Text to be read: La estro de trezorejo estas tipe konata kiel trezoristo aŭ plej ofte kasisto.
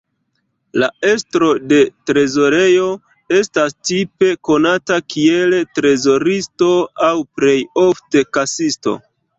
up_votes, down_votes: 1, 2